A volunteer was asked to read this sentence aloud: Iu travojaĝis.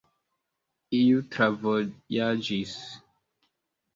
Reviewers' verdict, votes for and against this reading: accepted, 2, 0